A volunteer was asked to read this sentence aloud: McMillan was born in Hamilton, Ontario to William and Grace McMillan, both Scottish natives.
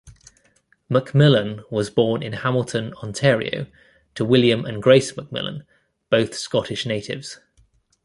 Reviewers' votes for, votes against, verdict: 2, 0, accepted